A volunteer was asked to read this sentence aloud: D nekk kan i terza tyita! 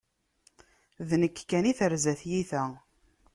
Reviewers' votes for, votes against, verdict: 2, 0, accepted